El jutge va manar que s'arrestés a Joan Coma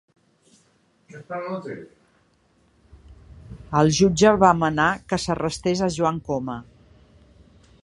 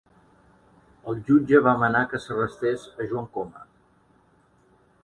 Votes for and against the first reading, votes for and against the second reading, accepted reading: 0, 2, 2, 0, second